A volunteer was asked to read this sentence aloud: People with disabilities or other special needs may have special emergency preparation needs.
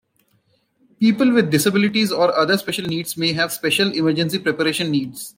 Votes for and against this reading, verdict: 2, 1, accepted